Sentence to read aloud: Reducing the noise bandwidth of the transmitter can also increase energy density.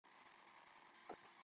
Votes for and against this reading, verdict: 0, 3, rejected